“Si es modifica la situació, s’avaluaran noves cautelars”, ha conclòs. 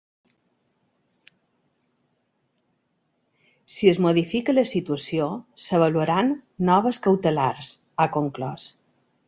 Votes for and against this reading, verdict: 2, 0, accepted